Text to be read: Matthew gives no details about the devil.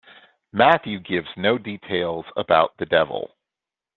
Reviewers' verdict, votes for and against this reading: accepted, 2, 0